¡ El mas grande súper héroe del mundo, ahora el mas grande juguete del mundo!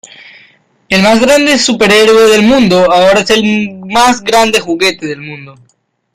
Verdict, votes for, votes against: accepted, 2, 0